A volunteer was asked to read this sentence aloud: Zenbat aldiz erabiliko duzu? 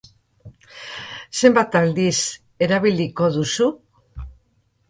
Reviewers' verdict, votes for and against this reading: accepted, 3, 0